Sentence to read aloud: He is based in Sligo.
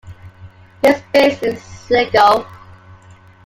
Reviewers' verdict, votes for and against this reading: rejected, 1, 2